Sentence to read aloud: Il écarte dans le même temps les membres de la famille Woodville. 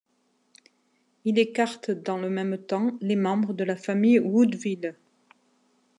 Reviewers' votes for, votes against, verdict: 2, 0, accepted